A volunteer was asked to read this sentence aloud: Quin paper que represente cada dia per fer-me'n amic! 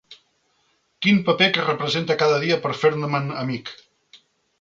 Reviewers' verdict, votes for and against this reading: rejected, 1, 2